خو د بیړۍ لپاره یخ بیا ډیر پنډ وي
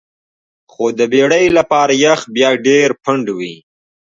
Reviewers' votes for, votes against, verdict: 2, 0, accepted